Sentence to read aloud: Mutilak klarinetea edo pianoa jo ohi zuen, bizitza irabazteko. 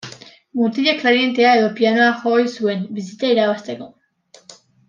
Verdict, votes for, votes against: accepted, 2, 0